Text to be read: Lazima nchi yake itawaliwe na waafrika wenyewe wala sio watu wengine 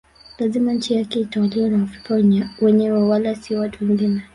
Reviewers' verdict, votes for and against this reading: rejected, 1, 2